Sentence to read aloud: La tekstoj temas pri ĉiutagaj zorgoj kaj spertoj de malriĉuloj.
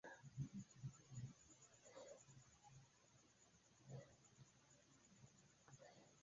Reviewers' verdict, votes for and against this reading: rejected, 2, 3